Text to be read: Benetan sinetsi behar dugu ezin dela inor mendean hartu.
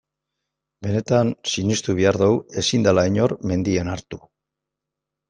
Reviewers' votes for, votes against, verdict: 0, 2, rejected